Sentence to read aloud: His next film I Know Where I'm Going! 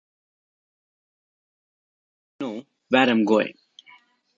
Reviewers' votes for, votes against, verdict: 0, 2, rejected